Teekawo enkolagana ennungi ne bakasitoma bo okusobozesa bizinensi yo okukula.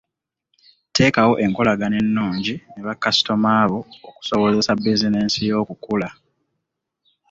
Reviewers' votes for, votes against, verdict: 3, 0, accepted